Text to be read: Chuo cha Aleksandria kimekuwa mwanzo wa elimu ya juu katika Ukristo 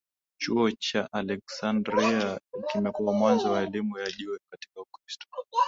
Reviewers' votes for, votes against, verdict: 15, 4, accepted